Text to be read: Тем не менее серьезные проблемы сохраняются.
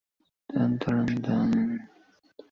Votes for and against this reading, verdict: 0, 2, rejected